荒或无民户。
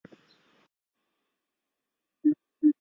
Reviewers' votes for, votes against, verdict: 0, 2, rejected